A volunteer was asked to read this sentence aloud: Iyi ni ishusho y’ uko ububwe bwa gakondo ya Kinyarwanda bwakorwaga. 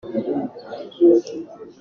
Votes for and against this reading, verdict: 0, 2, rejected